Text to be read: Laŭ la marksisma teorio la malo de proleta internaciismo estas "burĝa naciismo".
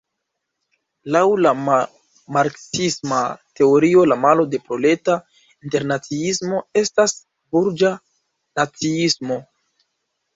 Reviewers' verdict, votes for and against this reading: rejected, 0, 2